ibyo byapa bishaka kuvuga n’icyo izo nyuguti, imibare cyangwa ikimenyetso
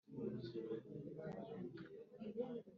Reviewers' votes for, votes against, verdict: 0, 2, rejected